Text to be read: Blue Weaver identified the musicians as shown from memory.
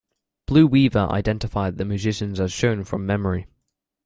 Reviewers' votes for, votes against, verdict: 2, 0, accepted